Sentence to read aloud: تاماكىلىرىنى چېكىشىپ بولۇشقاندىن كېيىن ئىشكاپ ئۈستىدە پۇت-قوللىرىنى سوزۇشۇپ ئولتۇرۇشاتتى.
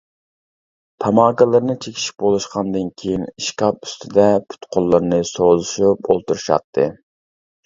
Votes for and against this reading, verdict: 2, 0, accepted